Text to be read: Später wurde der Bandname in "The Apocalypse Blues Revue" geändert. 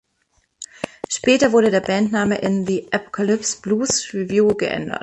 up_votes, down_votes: 1, 2